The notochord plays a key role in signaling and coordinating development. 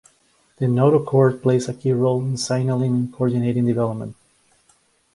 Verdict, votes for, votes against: rejected, 0, 2